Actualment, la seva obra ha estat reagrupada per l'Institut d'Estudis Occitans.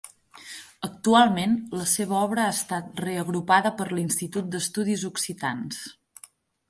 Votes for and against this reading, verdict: 10, 0, accepted